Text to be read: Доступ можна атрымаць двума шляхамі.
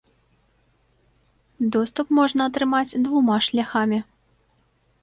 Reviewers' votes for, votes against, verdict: 2, 0, accepted